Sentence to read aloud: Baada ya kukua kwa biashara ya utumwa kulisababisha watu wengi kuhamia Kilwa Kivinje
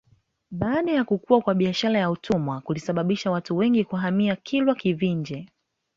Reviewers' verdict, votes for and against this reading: accepted, 2, 1